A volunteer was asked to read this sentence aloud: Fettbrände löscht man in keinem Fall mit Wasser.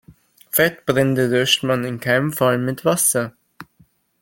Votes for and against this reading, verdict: 2, 3, rejected